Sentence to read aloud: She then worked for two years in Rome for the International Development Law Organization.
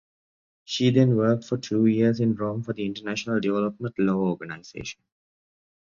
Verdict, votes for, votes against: accepted, 2, 0